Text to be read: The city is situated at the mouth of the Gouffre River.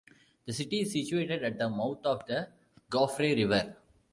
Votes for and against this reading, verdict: 1, 2, rejected